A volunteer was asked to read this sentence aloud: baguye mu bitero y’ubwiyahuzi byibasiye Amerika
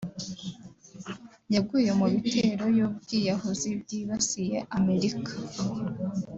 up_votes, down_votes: 0, 2